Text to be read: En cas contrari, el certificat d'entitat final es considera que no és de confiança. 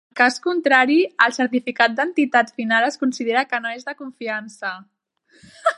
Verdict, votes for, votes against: rejected, 0, 3